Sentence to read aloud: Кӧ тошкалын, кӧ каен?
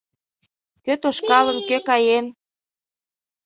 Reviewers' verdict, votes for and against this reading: rejected, 1, 2